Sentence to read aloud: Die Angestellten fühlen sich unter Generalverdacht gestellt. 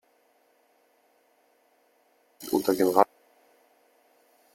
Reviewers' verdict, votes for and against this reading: rejected, 0, 2